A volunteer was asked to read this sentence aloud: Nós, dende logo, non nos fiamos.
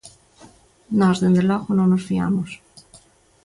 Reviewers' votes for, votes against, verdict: 2, 0, accepted